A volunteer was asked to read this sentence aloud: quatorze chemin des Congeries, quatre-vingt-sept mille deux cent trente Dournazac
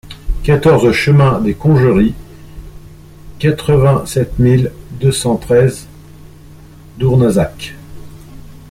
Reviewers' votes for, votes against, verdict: 0, 2, rejected